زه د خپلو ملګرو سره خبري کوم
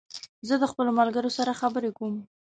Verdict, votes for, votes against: accepted, 2, 0